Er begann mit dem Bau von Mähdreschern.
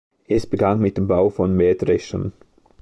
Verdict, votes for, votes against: rejected, 0, 2